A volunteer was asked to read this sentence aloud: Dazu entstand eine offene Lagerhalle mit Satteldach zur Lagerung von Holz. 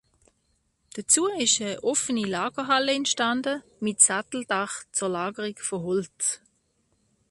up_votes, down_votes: 1, 2